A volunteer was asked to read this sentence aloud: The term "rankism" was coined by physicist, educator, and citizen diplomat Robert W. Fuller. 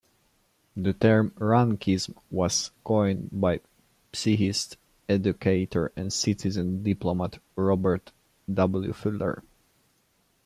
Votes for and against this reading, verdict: 0, 2, rejected